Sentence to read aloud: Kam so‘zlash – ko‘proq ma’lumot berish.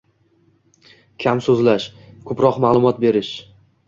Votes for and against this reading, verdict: 2, 0, accepted